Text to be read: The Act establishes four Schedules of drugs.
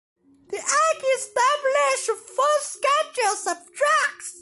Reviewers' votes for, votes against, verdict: 0, 2, rejected